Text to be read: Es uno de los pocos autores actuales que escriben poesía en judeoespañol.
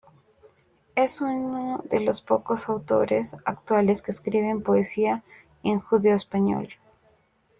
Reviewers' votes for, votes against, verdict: 2, 0, accepted